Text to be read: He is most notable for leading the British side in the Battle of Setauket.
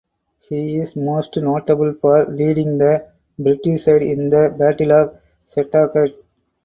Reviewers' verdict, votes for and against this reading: accepted, 4, 0